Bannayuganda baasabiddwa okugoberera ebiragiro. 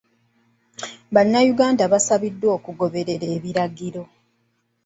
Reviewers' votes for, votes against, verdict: 2, 0, accepted